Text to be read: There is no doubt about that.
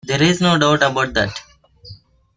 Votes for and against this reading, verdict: 1, 2, rejected